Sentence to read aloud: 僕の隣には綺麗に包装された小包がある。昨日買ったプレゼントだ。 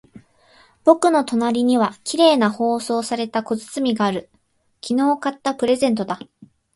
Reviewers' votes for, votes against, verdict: 2, 2, rejected